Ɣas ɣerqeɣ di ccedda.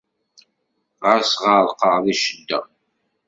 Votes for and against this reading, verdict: 2, 0, accepted